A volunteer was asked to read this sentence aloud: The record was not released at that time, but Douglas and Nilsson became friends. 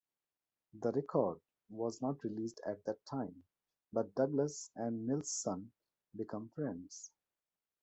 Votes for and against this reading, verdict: 0, 2, rejected